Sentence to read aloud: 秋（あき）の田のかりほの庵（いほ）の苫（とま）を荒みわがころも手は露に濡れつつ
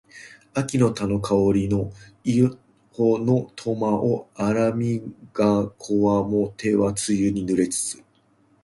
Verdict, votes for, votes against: rejected, 1, 2